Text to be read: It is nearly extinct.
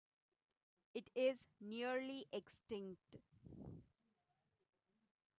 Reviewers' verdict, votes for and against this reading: rejected, 1, 2